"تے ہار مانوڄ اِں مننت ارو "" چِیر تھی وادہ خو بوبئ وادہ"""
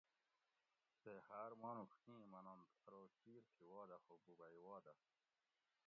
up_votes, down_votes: 2, 0